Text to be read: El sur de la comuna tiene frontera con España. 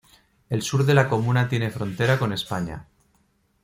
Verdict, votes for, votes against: accepted, 2, 0